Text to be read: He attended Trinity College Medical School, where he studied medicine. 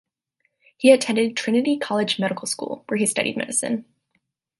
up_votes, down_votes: 2, 0